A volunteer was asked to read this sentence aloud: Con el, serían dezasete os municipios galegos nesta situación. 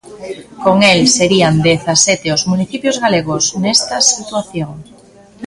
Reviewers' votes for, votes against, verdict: 2, 0, accepted